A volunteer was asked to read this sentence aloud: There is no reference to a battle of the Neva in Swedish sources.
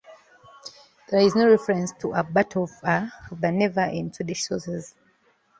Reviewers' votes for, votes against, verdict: 0, 2, rejected